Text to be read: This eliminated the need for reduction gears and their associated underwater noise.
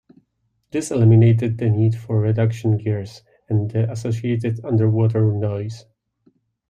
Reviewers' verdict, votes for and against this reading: accepted, 2, 0